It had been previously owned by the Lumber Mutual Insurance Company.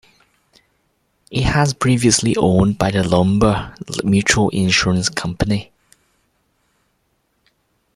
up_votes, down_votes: 0, 2